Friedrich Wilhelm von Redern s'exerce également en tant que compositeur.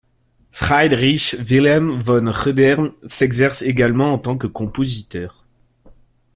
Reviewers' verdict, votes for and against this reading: rejected, 1, 2